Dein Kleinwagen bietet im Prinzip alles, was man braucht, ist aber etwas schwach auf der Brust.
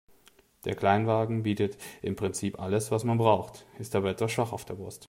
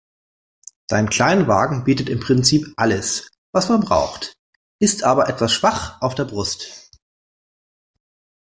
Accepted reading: second